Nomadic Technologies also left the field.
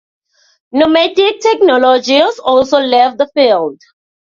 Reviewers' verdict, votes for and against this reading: accepted, 2, 0